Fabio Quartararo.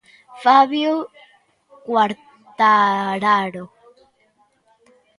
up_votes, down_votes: 1, 2